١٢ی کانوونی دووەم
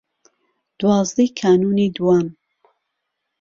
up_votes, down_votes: 0, 2